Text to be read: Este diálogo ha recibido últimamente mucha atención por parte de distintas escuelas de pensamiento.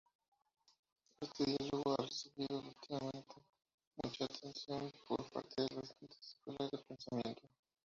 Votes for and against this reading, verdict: 0, 2, rejected